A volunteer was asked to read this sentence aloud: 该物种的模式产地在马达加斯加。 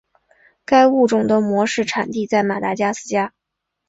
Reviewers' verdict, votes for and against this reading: accepted, 2, 0